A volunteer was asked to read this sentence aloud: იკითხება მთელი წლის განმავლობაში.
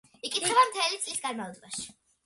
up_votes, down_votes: 2, 0